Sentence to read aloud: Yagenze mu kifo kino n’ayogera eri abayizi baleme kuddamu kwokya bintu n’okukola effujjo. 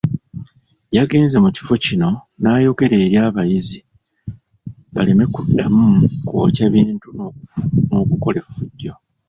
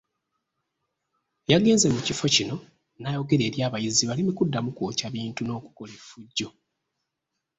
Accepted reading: second